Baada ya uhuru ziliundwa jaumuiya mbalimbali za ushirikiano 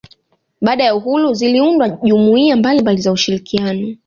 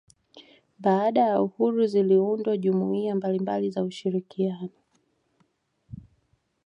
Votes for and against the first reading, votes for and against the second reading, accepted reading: 0, 2, 2, 0, second